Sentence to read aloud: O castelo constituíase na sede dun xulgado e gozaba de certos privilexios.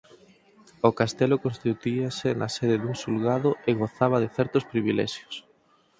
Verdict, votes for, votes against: rejected, 2, 4